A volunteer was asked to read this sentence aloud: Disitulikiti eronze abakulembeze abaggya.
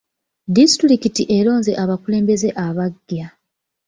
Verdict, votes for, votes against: rejected, 0, 2